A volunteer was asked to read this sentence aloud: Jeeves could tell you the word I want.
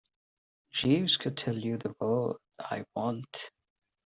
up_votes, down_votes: 0, 2